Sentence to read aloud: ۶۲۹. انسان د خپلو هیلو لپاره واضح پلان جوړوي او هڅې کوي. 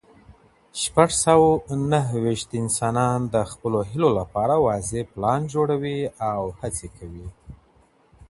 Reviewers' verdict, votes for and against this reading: rejected, 0, 2